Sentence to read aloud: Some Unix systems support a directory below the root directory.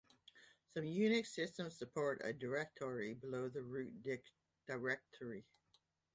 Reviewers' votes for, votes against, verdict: 1, 2, rejected